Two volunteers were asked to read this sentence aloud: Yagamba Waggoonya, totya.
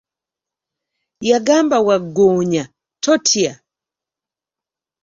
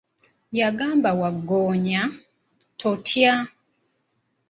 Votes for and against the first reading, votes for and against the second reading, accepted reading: 3, 0, 1, 2, first